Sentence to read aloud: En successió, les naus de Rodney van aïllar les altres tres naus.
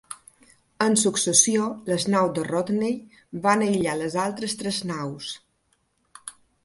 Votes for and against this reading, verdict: 3, 0, accepted